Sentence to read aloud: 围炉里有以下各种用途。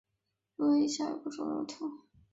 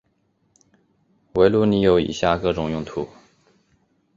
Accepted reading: second